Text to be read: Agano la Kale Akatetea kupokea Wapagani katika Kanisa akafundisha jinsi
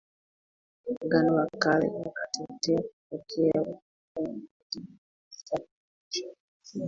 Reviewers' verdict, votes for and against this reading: rejected, 1, 2